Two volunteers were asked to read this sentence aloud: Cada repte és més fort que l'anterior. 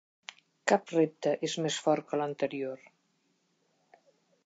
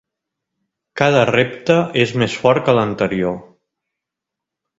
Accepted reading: second